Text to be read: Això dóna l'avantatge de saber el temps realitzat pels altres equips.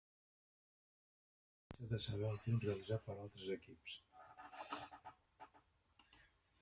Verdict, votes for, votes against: rejected, 1, 2